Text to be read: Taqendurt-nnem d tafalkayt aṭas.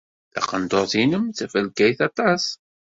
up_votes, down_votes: 2, 0